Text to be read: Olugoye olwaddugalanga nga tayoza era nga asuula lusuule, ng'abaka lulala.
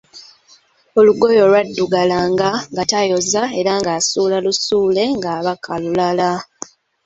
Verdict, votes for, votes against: accepted, 2, 0